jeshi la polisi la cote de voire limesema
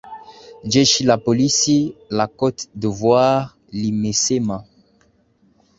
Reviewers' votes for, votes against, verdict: 2, 0, accepted